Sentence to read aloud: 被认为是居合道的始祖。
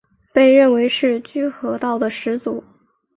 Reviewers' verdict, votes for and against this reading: accepted, 3, 1